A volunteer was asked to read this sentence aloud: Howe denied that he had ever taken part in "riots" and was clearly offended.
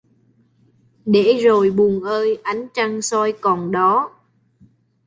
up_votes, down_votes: 0, 2